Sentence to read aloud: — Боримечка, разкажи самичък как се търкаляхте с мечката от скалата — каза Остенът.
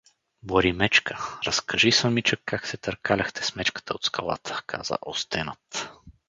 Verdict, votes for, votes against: rejected, 0, 2